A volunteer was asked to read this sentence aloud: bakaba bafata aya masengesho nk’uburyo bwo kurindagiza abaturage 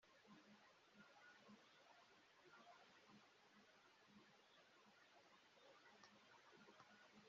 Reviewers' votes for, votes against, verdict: 0, 2, rejected